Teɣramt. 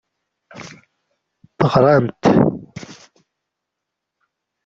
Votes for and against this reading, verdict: 0, 2, rejected